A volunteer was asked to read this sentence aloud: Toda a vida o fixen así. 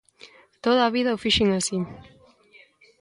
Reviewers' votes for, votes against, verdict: 0, 2, rejected